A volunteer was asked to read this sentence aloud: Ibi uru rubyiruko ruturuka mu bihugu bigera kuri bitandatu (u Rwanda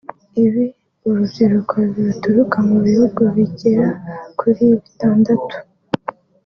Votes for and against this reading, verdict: 1, 2, rejected